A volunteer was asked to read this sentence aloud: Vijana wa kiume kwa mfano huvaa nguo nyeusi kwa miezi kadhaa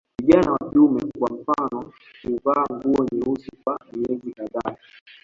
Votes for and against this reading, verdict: 0, 2, rejected